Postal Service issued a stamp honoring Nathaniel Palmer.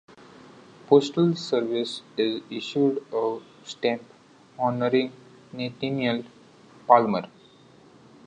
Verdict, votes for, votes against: accepted, 2, 1